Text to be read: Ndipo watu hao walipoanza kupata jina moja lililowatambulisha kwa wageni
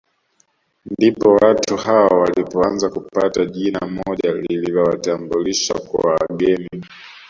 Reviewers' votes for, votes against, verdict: 2, 0, accepted